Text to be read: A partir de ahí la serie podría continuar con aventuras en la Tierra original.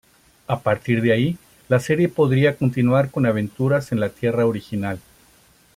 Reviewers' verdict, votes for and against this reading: accepted, 2, 0